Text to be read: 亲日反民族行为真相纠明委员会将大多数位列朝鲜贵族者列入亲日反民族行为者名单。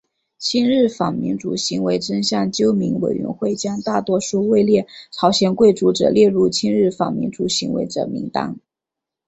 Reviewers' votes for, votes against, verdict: 3, 0, accepted